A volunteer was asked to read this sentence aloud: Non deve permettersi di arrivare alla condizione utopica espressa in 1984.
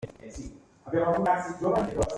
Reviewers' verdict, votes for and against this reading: rejected, 0, 2